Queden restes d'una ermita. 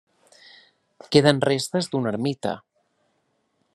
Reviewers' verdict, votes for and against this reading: accepted, 3, 0